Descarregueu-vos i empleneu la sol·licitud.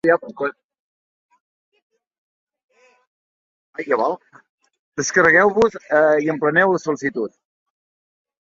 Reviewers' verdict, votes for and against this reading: rejected, 0, 5